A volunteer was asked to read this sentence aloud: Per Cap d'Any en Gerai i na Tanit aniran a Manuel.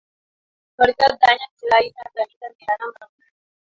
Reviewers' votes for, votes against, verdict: 1, 2, rejected